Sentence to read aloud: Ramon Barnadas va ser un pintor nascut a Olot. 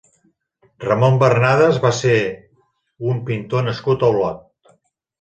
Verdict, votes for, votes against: accepted, 2, 0